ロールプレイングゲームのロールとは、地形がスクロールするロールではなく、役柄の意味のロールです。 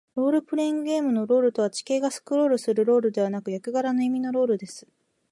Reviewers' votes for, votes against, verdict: 3, 0, accepted